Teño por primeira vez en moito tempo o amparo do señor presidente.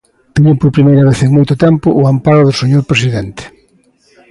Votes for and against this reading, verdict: 2, 0, accepted